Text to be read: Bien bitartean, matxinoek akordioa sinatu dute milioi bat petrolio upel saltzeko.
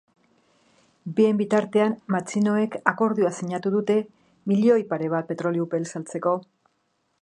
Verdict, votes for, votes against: rejected, 1, 2